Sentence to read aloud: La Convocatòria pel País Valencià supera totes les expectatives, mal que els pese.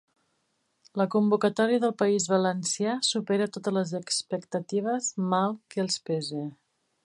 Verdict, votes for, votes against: rejected, 0, 2